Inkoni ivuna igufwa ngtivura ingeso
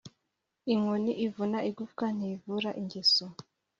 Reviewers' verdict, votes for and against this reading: accepted, 2, 0